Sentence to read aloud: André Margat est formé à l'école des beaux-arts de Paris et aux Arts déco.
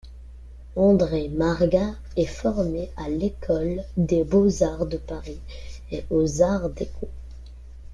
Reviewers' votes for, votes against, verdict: 2, 1, accepted